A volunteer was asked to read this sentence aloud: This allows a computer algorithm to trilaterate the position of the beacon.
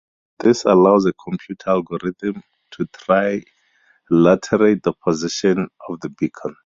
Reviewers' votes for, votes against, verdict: 2, 0, accepted